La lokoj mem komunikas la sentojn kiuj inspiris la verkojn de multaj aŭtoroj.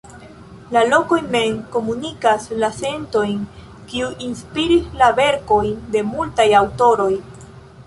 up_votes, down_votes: 1, 2